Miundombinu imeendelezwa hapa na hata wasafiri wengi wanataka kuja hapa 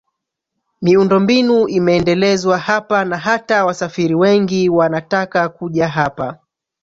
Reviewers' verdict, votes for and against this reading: rejected, 0, 2